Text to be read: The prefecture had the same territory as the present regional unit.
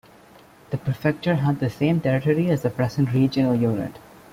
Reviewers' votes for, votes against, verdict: 0, 2, rejected